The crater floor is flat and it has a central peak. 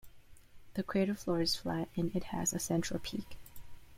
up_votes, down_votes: 1, 2